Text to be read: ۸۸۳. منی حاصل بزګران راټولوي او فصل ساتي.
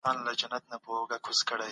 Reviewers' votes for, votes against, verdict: 0, 2, rejected